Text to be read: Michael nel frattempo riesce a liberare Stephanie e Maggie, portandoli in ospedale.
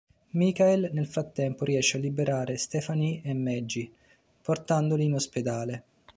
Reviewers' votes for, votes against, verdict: 0, 2, rejected